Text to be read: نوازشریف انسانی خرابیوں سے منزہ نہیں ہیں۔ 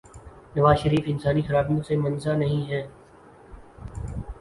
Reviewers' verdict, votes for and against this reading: accepted, 12, 1